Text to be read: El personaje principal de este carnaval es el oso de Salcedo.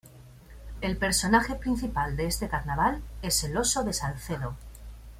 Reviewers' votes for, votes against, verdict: 2, 0, accepted